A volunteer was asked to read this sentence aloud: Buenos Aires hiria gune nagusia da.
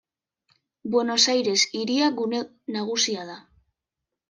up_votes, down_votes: 2, 0